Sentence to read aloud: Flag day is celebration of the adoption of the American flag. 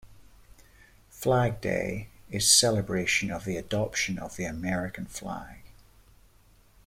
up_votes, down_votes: 2, 0